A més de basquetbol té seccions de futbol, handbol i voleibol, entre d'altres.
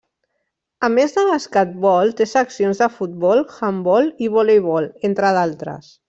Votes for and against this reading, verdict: 0, 2, rejected